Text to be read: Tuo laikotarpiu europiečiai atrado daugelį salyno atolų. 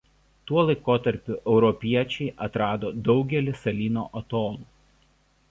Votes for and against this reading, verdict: 0, 2, rejected